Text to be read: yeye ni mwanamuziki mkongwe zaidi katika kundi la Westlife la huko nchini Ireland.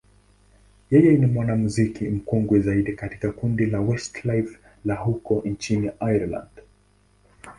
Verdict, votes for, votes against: accepted, 2, 0